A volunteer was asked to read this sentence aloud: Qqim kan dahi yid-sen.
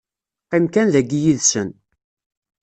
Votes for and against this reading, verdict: 2, 0, accepted